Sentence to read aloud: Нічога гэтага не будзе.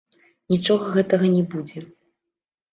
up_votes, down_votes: 2, 0